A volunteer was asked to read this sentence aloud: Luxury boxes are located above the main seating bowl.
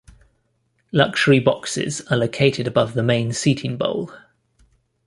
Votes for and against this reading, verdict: 2, 1, accepted